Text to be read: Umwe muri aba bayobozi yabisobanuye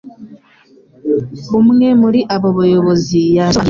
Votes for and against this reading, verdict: 1, 2, rejected